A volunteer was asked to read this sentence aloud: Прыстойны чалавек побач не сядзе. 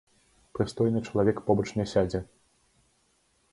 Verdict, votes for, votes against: accepted, 2, 0